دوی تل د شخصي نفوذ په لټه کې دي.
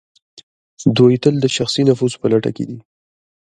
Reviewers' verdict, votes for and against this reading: accepted, 2, 1